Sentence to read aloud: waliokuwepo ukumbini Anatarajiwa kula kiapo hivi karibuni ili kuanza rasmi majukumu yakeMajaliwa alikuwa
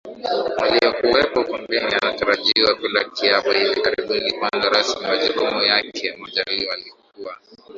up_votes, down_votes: 0, 2